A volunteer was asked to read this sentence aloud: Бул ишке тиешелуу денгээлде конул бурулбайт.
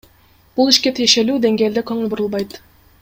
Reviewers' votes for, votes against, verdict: 0, 2, rejected